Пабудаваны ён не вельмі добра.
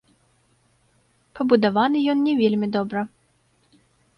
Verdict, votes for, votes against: accepted, 2, 0